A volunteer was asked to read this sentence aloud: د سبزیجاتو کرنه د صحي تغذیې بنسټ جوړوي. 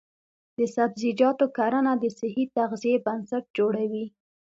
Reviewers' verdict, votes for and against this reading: accepted, 2, 0